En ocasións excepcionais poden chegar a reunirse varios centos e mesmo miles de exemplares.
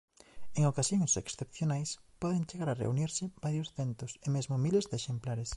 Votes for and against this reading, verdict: 2, 1, accepted